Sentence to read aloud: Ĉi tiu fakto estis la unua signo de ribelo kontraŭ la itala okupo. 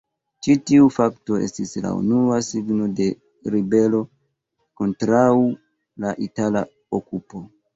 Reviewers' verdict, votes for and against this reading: rejected, 0, 2